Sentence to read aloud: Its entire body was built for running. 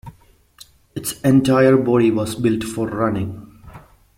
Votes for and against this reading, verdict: 2, 1, accepted